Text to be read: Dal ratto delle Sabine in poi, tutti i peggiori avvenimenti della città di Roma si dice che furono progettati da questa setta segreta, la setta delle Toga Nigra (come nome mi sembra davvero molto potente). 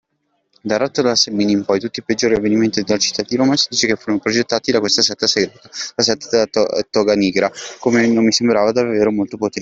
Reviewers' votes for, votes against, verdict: 0, 3, rejected